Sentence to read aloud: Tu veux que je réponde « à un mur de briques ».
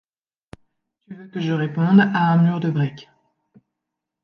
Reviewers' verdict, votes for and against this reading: rejected, 1, 2